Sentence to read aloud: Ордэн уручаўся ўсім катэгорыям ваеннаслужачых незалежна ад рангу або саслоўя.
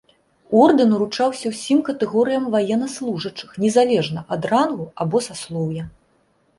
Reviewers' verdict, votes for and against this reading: accepted, 2, 0